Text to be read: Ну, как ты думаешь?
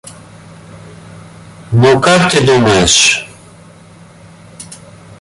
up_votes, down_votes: 2, 1